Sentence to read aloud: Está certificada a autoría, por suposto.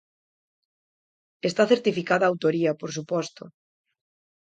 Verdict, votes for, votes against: accepted, 4, 0